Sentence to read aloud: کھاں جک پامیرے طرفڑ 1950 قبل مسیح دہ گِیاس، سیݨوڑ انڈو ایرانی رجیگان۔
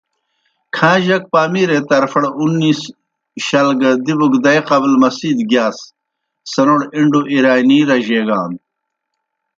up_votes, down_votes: 0, 2